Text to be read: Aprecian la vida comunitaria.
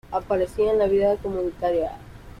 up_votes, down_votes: 0, 2